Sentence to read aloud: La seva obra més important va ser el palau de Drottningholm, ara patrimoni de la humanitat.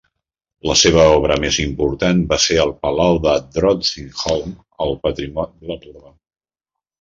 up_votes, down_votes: 0, 2